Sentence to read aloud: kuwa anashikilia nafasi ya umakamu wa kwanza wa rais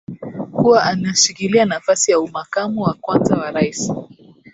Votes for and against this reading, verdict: 2, 1, accepted